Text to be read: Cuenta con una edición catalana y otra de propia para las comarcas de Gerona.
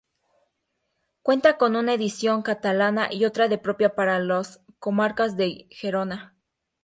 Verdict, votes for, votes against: rejected, 0, 2